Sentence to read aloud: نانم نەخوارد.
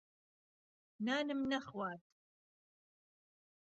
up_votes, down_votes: 2, 0